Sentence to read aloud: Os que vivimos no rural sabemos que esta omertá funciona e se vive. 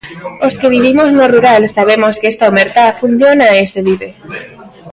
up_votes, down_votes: 1, 2